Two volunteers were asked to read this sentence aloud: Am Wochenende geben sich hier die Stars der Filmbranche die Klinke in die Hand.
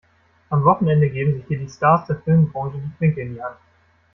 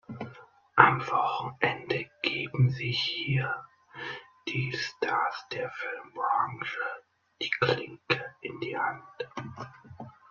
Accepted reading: second